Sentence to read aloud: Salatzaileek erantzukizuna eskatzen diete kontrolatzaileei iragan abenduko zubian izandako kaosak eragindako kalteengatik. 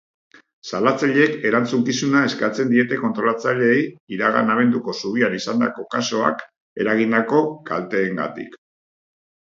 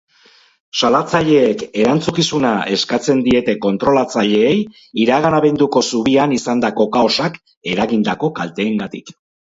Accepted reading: second